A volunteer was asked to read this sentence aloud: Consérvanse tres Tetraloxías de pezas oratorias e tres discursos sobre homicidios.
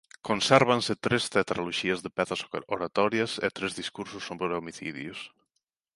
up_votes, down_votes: 1, 2